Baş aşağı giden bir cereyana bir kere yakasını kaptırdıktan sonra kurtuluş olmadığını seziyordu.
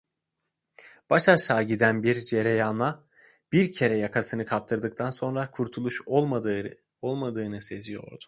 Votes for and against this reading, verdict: 0, 2, rejected